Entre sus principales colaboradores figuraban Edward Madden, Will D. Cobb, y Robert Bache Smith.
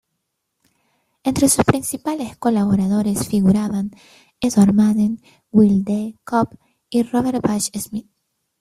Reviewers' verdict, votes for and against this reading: rejected, 1, 2